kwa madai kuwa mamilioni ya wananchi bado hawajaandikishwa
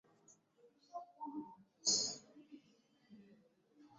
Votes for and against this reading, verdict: 2, 3, rejected